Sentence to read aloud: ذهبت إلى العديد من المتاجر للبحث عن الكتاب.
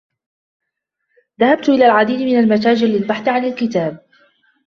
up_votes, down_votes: 2, 0